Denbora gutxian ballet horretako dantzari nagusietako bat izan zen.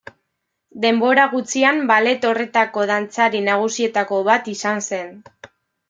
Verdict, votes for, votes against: accepted, 2, 0